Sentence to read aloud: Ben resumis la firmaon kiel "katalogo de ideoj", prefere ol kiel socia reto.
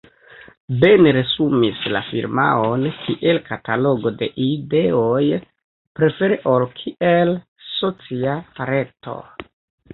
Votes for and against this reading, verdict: 0, 2, rejected